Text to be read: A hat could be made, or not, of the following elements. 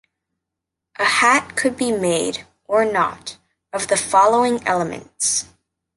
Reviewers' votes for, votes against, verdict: 2, 0, accepted